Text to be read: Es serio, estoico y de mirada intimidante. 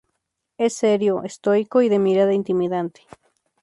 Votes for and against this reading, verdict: 0, 2, rejected